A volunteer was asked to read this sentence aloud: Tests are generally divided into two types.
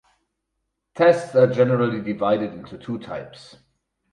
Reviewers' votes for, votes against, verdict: 2, 2, rejected